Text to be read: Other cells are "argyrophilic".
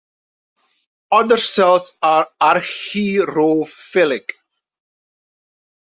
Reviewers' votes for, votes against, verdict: 2, 1, accepted